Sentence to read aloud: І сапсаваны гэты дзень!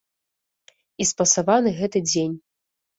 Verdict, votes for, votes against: rejected, 0, 2